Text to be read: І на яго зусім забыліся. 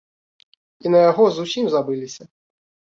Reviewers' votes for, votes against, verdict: 2, 0, accepted